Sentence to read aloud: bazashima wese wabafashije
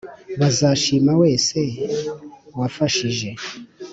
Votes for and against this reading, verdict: 1, 2, rejected